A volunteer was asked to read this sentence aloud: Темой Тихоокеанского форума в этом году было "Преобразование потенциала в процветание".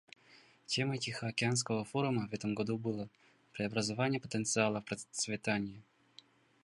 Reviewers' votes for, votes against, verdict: 2, 0, accepted